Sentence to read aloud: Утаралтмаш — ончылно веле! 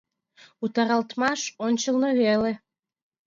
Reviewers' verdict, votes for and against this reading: accepted, 2, 0